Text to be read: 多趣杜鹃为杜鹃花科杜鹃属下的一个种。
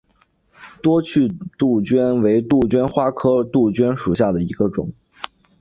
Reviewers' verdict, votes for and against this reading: accepted, 2, 0